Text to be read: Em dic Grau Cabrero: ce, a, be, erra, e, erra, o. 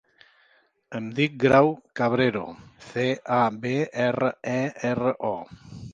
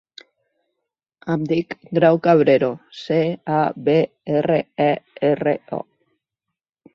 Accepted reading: second